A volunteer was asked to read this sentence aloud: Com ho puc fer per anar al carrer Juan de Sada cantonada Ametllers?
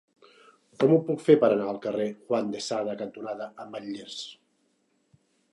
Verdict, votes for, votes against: accepted, 3, 1